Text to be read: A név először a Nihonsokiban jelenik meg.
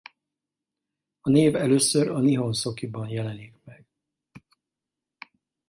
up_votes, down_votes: 4, 0